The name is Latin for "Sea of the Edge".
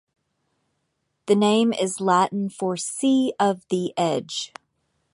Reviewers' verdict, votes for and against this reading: accepted, 2, 0